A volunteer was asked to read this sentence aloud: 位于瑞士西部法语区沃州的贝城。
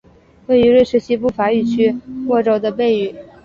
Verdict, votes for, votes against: rejected, 1, 2